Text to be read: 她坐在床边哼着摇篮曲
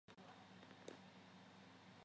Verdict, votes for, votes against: rejected, 0, 5